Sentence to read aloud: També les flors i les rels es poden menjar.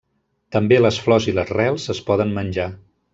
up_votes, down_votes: 3, 0